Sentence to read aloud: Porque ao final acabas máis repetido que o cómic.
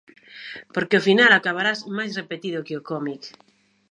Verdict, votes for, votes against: rejected, 0, 2